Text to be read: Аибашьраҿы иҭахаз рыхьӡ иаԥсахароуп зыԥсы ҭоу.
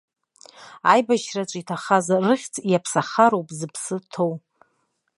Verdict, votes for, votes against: accepted, 2, 0